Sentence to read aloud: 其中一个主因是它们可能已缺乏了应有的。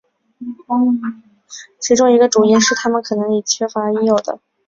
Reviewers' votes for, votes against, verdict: 4, 0, accepted